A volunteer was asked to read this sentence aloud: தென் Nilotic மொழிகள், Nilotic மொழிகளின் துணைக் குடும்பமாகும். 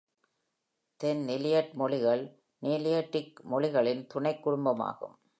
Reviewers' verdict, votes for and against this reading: rejected, 0, 2